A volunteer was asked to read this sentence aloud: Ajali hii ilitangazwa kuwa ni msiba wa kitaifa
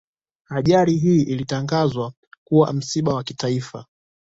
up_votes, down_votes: 2, 0